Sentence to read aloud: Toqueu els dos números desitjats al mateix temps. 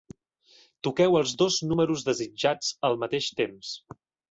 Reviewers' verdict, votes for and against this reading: accepted, 2, 0